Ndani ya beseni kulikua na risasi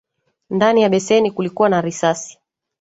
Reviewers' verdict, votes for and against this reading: accepted, 2, 0